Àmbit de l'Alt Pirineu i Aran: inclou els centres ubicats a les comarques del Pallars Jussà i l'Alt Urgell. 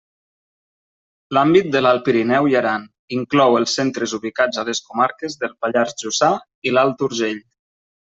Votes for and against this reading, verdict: 0, 2, rejected